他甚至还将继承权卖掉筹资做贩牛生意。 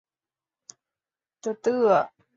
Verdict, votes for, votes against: rejected, 1, 3